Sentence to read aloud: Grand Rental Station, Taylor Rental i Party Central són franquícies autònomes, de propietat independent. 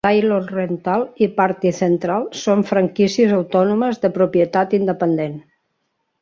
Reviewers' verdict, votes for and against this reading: rejected, 0, 2